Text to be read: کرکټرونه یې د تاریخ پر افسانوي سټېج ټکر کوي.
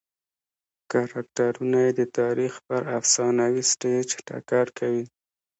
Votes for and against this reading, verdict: 2, 0, accepted